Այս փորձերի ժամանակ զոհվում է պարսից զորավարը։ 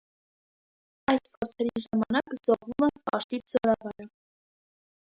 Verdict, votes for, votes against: rejected, 0, 2